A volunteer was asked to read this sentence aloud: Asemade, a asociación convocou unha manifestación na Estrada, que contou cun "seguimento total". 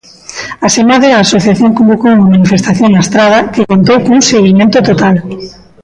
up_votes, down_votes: 1, 2